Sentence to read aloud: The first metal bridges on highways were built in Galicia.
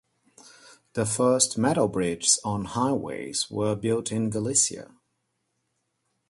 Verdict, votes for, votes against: accepted, 2, 0